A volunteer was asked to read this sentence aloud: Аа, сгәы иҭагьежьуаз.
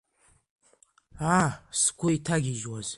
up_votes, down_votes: 2, 0